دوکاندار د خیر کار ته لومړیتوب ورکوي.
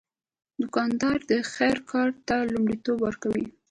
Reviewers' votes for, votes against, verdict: 2, 0, accepted